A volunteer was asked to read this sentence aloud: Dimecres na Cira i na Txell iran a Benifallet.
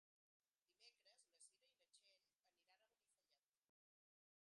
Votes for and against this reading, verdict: 0, 3, rejected